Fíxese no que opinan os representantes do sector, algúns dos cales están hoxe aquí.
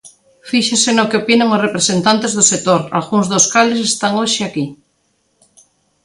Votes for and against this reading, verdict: 2, 0, accepted